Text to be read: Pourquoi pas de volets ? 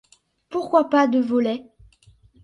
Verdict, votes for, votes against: accepted, 2, 0